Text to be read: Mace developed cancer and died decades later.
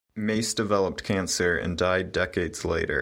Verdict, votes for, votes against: accepted, 2, 1